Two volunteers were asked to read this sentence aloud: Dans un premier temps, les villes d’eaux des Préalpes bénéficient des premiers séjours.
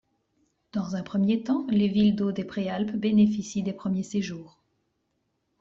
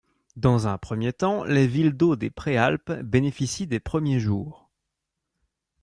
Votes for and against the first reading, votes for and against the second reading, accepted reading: 2, 0, 1, 2, first